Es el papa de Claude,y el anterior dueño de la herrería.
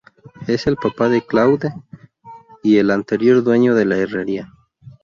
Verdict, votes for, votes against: rejected, 0, 2